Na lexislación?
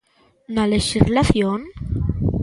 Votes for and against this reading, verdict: 2, 1, accepted